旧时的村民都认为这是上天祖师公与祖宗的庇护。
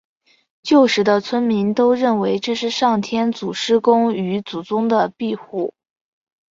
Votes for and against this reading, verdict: 2, 0, accepted